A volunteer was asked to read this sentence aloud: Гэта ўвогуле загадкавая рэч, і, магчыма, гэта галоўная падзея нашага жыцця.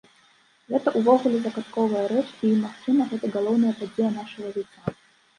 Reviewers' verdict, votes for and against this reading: rejected, 1, 2